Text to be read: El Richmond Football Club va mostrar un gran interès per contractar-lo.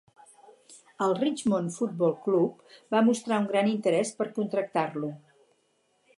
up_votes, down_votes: 2, 0